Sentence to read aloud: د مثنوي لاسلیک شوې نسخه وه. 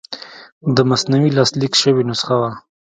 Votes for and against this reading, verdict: 2, 0, accepted